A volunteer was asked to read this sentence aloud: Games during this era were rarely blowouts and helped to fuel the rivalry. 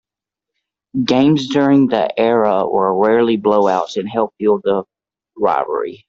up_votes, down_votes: 0, 2